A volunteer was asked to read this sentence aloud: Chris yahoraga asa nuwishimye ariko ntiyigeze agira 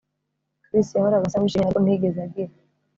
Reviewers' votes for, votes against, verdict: 0, 2, rejected